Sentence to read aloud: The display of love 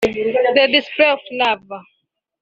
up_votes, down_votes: 1, 2